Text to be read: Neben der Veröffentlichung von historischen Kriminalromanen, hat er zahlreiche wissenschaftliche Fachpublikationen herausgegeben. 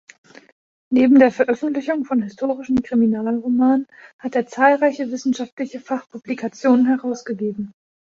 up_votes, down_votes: 2, 0